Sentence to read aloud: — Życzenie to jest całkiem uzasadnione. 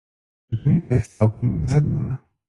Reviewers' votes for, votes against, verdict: 0, 2, rejected